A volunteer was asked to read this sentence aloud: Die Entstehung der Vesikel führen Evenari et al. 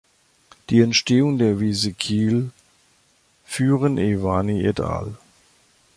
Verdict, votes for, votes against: rejected, 0, 2